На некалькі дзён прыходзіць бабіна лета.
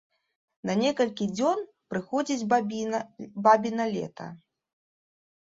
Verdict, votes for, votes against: accepted, 2, 1